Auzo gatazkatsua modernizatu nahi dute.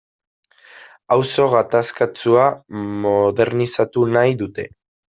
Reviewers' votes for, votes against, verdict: 0, 2, rejected